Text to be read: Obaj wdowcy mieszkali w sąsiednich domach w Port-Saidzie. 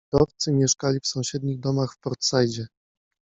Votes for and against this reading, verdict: 0, 2, rejected